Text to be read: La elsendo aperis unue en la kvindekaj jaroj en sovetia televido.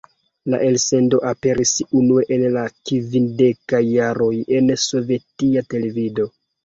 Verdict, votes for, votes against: rejected, 1, 2